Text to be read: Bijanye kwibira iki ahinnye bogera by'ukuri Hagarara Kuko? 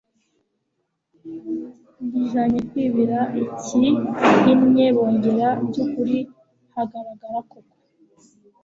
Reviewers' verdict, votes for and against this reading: rejected, 0, 2